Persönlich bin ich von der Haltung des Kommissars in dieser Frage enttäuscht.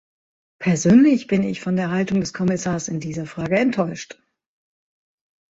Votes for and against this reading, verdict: 2, 0, accepted